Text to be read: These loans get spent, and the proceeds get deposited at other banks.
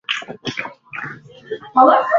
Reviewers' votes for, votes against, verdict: 0, 2, rejected